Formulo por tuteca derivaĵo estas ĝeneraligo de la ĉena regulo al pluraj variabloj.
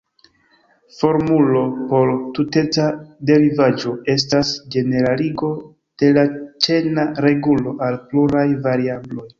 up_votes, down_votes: 2, 0